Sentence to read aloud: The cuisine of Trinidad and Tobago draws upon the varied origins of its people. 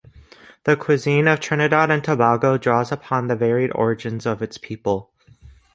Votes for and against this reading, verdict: 2, 0, accepted